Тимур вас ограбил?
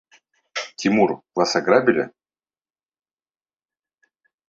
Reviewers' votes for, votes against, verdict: 0, 2, rejected